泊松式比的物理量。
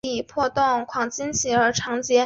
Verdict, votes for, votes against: rejected, 2, 3